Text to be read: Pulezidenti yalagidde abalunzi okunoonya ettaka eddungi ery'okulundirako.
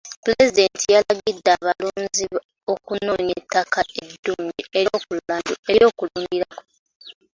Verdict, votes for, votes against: rejected, 1, 2